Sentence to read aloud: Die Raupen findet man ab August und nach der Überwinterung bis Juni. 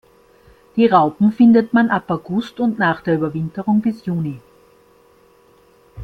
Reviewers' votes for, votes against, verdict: 3, 1, accepted